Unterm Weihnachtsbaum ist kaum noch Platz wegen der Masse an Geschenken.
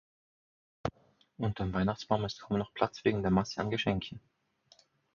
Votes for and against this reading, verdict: 4, 0, accepted